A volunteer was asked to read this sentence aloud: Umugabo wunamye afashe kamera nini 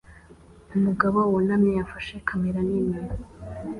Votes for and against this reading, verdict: 2, 0, accepted